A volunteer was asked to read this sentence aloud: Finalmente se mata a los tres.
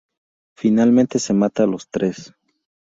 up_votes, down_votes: 2, 0